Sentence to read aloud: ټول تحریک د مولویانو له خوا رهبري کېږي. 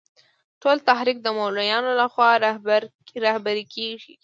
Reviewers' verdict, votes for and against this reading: accepted, 2, 0